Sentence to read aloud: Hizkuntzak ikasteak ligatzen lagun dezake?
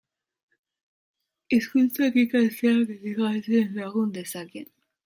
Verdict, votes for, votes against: rejected, 0, 3